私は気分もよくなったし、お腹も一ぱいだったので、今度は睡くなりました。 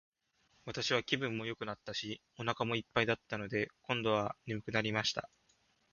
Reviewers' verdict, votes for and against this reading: accepted, 2, 0